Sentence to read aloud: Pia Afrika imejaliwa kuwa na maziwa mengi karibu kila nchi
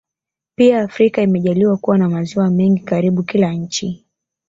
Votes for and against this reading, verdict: 0, 2, rejected